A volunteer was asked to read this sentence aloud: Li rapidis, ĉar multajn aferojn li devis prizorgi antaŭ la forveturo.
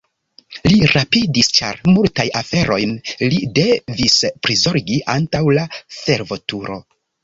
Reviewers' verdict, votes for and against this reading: rejected, 1, 2